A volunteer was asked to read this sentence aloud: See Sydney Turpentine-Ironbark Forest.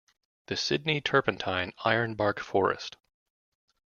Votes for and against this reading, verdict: 1, 2, rejected